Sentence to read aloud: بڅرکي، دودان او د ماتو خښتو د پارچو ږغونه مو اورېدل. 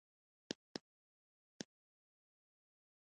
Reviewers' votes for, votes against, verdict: 1, 2, rejected